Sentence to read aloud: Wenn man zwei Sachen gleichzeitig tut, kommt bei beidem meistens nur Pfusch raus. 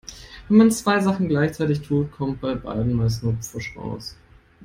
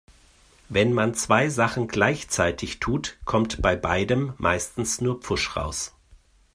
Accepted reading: second